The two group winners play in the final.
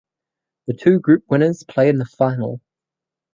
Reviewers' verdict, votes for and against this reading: accepted, 12, 0